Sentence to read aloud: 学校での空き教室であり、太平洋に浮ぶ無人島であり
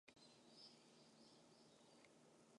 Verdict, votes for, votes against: rejected, 0, 3